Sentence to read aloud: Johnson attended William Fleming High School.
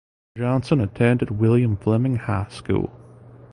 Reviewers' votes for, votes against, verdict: 2, 0, accepted